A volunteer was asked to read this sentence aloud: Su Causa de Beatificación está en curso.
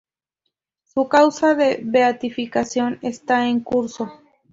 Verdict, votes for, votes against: accepted, 2, 0